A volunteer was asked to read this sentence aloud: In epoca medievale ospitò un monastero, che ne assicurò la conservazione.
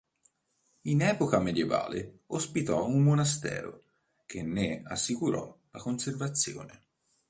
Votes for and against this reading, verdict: 3, 0, accepted